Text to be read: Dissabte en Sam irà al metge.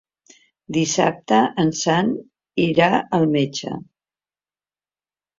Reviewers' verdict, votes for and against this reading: accepted, 2, 0